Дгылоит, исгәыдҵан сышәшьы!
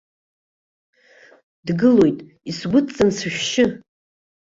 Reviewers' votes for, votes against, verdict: 3, 0, accepted